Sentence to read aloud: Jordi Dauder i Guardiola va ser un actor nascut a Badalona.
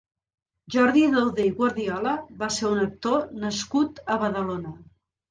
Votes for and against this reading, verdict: 2, 0, accepted